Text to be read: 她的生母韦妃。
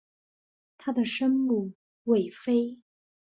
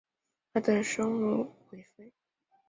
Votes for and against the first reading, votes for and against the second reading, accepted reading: 3, 0, 0, 2, first